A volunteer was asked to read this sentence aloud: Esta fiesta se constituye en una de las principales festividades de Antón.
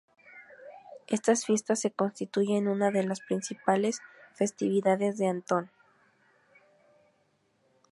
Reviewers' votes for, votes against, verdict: 0, 2, rejected